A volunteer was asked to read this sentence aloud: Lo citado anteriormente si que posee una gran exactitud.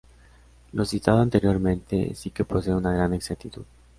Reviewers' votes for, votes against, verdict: 2, 0, accepted